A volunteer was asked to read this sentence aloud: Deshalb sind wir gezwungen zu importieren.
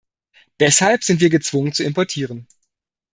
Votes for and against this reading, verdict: 2, 0, accepted